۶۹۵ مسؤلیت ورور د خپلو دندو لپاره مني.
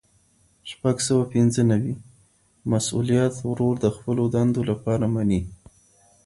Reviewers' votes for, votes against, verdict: 0, 2, rejected